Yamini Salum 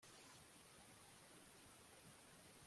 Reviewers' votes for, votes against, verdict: 0, 2, rejected